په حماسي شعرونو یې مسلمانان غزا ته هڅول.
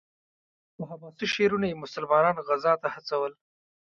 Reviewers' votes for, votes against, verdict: 2, 1, accepted